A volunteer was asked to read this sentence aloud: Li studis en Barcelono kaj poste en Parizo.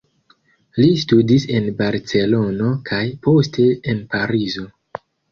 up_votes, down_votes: 1, 2